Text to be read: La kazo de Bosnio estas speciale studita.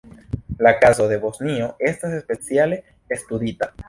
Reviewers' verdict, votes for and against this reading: rejected, 0, 2